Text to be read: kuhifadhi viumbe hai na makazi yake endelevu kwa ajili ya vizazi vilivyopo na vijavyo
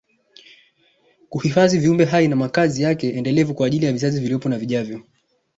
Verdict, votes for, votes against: accepted, 2, 1